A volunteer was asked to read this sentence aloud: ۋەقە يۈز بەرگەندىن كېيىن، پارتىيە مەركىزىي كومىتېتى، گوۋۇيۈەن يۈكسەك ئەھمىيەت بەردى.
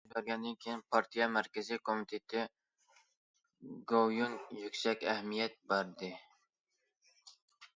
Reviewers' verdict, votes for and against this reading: rejected, 0, 2